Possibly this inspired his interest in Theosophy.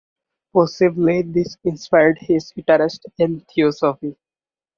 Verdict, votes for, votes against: rejected, 0, 2